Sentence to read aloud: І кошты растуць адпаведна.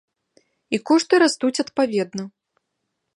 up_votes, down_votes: 2, 0